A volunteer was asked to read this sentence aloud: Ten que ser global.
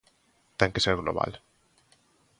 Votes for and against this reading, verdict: 2, 0, accepted